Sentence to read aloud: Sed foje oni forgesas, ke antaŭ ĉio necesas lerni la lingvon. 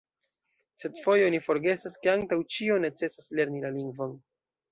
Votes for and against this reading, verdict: 2, 0, accepted